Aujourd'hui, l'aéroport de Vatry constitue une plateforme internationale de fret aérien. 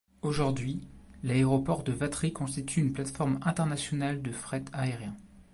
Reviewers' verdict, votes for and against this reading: accepted, 2, 0